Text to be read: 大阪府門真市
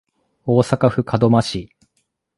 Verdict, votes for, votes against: accepted, 2, 0